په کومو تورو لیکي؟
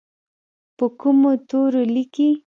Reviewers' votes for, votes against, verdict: 2, 0, accepted